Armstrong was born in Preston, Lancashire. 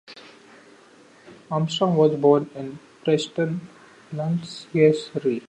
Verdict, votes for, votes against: rejected, 0, 2